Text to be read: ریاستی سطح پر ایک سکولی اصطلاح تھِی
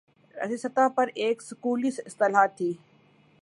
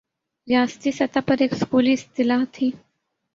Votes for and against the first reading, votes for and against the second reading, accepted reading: 1, 2, 7, 0, second